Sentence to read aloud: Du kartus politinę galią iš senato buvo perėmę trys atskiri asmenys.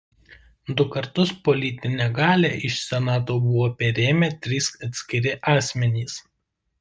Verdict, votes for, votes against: rejected, 0, 2